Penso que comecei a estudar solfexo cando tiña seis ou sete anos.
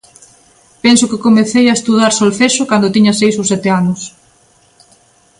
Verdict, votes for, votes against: accepted, 2, 0